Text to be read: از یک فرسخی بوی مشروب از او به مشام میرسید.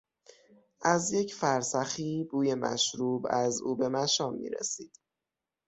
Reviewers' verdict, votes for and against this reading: rejected, 3, 6